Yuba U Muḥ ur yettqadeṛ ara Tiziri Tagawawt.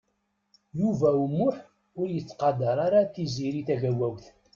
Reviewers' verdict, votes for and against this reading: accepted, 2, 0